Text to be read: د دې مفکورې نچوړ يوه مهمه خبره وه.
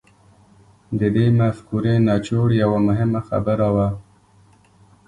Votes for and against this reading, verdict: 2, 0, accepted